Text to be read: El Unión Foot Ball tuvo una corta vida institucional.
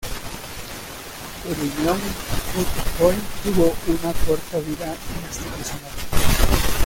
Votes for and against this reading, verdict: 0, 2, rejected